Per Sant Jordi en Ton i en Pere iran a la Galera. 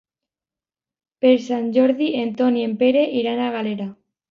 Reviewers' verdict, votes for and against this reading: rejected, 1, 2